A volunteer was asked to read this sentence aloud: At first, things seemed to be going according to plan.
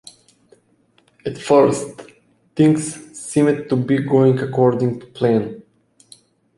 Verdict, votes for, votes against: rejected, 2, 3